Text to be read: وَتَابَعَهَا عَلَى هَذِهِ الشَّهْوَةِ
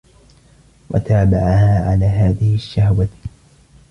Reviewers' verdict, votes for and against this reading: accepted, 2, 0